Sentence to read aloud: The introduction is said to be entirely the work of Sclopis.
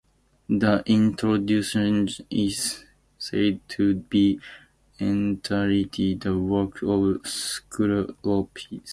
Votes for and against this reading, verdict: 0, 2, rejected